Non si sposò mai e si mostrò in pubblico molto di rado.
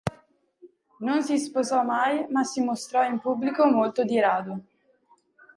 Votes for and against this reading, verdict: 0, 2, rejected